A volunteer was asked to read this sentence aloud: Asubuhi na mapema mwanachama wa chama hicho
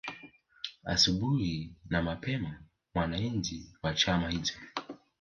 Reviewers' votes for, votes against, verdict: 1, 2, rejected